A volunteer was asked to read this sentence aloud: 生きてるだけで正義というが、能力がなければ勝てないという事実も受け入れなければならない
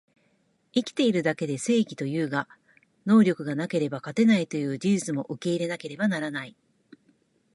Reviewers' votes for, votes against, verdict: 1, 2, rejected